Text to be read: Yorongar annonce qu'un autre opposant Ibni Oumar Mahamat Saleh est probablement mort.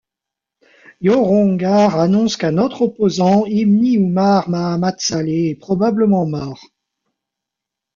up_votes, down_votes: 0, 2